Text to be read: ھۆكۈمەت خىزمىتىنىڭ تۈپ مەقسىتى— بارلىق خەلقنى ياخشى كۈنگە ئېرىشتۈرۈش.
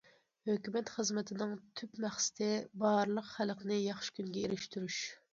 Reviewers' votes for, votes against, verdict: 2, 0, accepted